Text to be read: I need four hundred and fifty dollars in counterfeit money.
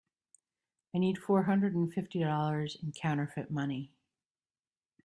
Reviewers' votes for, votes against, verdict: 3, 0, accepted